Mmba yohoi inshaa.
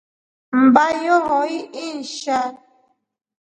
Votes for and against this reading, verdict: 2, 0, accepted